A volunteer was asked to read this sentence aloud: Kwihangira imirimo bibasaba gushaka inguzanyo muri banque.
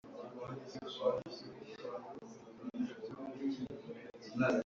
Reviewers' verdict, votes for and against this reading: rejected, 0, 2